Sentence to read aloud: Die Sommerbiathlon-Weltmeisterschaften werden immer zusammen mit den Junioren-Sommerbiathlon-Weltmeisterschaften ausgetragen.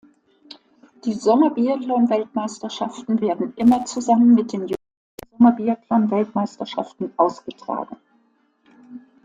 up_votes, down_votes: 0, 2